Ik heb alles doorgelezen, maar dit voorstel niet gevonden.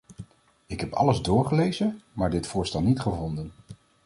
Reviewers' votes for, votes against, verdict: 2, 0, accepted